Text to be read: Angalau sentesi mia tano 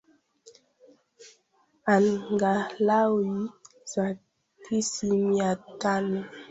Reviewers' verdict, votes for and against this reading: rejected, 1, 2